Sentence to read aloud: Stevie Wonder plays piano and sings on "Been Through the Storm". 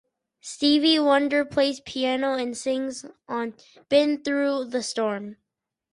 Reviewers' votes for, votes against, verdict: 4, 0, accepted